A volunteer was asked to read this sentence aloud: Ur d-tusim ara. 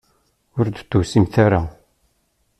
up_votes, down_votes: 1, 2